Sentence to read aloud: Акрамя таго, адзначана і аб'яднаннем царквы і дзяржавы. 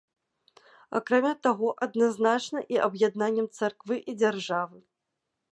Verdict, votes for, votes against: rejected, 0, 2